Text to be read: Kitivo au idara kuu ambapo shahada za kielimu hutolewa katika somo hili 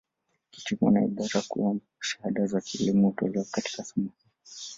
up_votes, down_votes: 1, 2